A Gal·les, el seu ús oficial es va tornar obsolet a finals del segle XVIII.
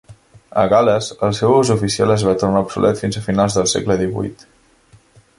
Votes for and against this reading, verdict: 0, 2, rejected